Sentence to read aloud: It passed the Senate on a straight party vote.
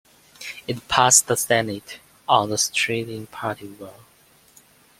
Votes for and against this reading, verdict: 2, 1, accepted